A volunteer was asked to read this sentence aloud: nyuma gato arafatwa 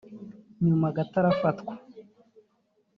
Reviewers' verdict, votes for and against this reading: accepted, 2, 0